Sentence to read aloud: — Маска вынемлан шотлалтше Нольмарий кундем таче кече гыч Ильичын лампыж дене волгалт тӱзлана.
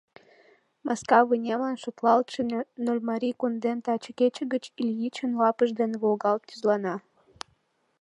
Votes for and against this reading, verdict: 1, 2, rejected